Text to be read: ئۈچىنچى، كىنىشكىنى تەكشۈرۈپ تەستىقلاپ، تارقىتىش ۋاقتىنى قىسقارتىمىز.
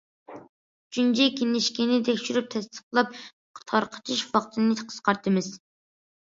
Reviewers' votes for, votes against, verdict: 2, 0, accepted